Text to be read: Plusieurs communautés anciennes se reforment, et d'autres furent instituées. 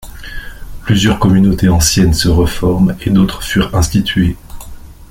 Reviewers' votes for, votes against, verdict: 2, 0, accepted